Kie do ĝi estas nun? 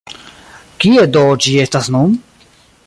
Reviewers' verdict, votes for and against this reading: accepted, 2, 0